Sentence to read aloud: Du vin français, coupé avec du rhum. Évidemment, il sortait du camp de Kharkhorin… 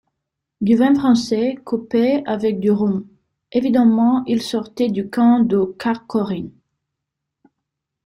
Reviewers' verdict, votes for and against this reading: rejected, 0, 2